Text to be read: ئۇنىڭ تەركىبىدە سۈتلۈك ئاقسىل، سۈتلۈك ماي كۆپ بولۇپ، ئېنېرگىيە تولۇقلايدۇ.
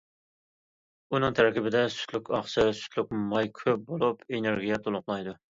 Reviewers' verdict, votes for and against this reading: accepted, 2, 0